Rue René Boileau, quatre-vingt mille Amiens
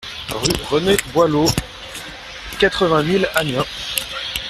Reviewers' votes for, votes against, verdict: 0, 2, rejected